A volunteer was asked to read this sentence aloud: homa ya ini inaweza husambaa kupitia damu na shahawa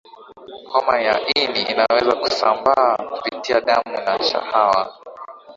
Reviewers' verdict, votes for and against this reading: rejected, 2, 2